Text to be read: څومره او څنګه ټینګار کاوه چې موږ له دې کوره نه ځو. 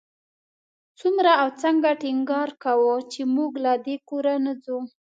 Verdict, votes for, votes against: accepted, 2, 0